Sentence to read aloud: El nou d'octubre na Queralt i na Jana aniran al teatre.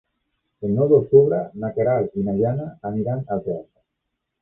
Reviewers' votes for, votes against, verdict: 0, 2, rejected